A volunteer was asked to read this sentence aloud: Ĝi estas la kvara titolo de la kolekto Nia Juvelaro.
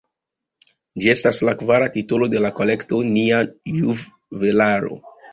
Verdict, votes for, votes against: rejected, 0, 2